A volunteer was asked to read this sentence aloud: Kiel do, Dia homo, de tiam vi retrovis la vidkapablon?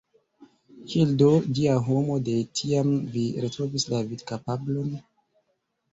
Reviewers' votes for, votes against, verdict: 2, 1, accepted